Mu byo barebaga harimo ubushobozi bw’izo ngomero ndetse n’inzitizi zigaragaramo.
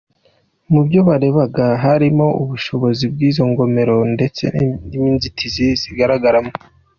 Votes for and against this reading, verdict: 1, 2, rejected